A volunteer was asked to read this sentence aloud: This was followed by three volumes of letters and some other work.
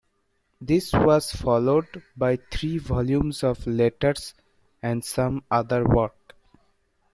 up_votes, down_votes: 3, 2